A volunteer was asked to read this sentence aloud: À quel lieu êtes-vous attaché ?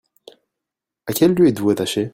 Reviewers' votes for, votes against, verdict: 1, 2, rejected